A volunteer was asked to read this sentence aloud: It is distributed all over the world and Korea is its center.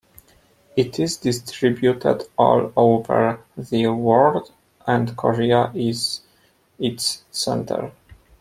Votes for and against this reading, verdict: 2, 0, accepted